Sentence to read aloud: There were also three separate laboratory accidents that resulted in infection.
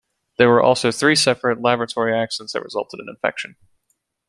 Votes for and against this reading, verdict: 2, 1, accepted